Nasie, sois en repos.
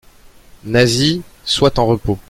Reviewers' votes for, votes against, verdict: 1, 2, rejected